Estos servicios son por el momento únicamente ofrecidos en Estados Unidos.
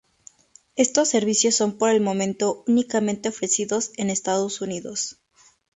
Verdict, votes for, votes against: accepted, 2, 0